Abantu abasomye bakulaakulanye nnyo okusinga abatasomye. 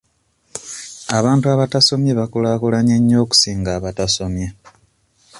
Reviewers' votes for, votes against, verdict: 1, 2, rejected